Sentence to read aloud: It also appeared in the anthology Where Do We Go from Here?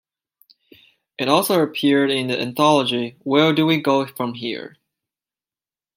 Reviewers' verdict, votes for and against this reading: accepted, 2, 0